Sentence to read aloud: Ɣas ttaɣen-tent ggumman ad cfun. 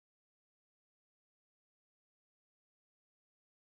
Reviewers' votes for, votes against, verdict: 0, 2, rejected